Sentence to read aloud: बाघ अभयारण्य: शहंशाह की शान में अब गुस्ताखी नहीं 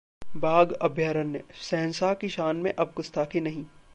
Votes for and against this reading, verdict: 0, 2, rejected